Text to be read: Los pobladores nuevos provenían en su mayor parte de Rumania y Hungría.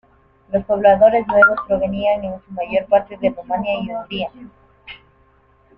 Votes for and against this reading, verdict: 2, 1, accepted